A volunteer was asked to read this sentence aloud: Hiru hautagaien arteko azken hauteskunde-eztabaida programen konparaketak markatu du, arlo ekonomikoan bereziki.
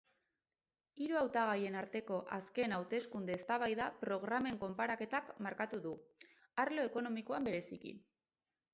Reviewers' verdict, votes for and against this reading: accepted, 6, 0